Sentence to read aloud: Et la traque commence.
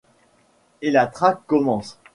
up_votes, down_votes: 2, 0